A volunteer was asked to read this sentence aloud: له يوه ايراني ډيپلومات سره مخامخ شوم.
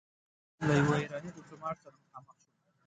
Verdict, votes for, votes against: rejected, 0, 2